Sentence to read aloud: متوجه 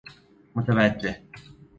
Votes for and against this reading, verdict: 2, 0, accepted